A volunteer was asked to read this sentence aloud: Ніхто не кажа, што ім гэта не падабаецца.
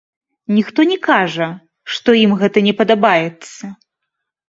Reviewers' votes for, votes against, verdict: 2, 1, accepted